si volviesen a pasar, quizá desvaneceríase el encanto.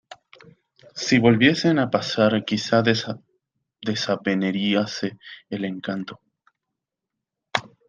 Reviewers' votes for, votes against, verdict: 0, 2, rejected